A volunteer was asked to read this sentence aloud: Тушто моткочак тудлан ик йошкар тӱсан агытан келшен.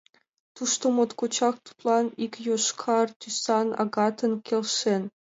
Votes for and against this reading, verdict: 1, 2, rejected